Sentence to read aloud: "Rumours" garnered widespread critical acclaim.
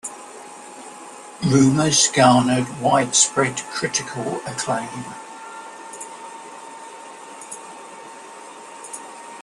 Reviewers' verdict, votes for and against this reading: accepted, 2, 0